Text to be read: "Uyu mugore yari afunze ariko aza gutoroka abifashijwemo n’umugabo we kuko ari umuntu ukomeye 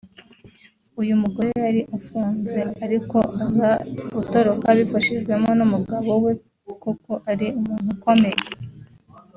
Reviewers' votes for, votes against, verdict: 1, 2, rejected